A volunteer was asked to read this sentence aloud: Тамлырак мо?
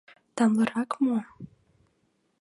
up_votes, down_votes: 2, 0